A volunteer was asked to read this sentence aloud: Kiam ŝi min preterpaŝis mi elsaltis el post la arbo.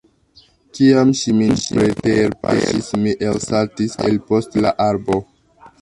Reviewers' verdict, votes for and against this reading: rejected, 1, 2